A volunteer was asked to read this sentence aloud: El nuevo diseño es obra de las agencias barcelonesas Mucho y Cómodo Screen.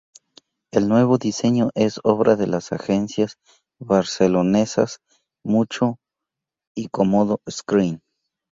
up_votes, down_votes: 2, 2